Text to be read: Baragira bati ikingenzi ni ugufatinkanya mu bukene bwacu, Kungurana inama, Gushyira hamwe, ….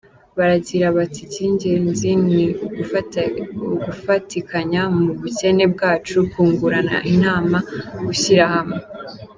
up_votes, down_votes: 0, 2